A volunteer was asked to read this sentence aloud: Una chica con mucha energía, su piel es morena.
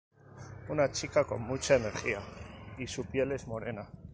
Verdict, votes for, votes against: rejected, 2, 4